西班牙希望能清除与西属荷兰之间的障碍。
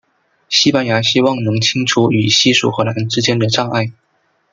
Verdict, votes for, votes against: accepted, 2, 0